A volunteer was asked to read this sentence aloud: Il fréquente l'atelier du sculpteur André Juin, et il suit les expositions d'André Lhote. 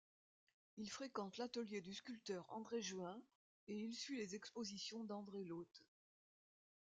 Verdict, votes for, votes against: accepted, 2, 0